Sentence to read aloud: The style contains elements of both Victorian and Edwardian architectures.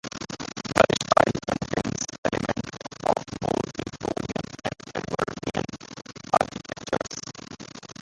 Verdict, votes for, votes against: rejected, 0, 2